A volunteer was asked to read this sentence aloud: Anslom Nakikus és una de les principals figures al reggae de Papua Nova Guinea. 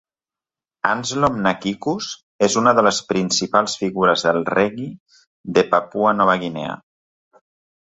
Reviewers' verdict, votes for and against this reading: rejected, 0, 2